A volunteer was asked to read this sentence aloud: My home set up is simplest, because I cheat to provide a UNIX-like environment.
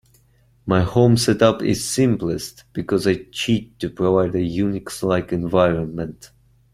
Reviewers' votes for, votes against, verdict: 2, 1, accepted